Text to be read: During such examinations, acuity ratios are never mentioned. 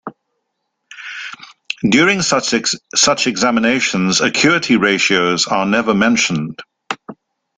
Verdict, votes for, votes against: rejected, 0, 2